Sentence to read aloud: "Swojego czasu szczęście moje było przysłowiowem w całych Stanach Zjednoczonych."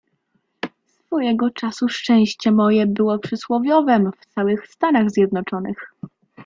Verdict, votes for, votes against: rejected, 1, 2